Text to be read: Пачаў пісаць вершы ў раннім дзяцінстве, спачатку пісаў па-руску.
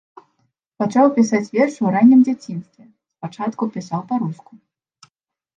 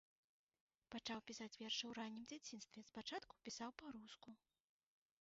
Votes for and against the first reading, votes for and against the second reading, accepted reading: 2, 0, 0, 2, first